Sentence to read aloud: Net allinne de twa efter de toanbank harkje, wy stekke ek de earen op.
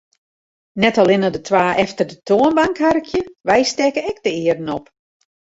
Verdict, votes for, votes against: accepted, 2, 0